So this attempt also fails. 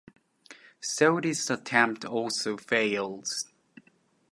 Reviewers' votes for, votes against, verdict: 2, 1, accepted